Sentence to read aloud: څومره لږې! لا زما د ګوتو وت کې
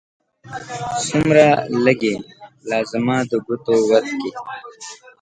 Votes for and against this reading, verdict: 1, 2, rejected